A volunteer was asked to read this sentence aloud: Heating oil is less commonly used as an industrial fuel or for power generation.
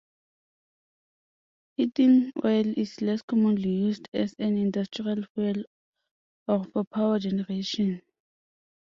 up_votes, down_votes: 0, 2